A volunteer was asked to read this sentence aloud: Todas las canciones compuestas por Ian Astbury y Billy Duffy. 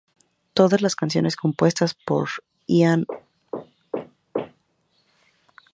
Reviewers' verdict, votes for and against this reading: rejected, 0, 2